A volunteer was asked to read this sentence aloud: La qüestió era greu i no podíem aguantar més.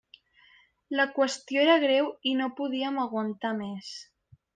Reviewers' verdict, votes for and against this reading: accepted, 3, 0